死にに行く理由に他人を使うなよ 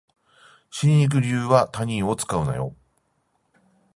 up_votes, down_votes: 5, 10